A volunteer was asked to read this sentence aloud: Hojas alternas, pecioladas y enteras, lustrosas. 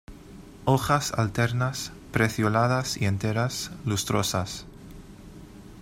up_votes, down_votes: 0, 2